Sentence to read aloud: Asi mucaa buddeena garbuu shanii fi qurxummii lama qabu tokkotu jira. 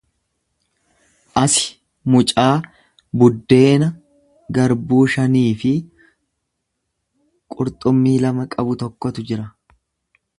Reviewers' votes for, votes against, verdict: 2, 0, accepted